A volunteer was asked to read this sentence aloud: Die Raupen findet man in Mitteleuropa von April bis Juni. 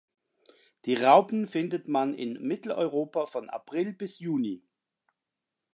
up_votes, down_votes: 2, 0